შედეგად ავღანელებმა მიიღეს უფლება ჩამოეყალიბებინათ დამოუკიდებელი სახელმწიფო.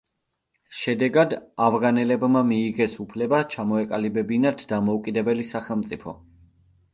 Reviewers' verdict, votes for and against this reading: accepted, 2, 0